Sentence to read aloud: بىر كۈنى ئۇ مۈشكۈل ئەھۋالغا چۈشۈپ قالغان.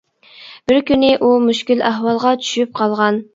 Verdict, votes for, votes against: accepted, 2, 0